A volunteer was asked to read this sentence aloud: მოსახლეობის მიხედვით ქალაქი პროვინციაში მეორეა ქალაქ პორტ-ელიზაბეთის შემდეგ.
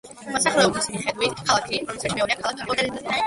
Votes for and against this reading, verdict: 0, 2, rejected